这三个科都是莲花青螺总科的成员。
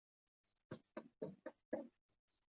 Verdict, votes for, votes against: rejected, 0, 2